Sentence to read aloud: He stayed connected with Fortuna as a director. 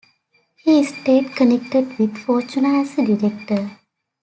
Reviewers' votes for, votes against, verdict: 2, 0, accepted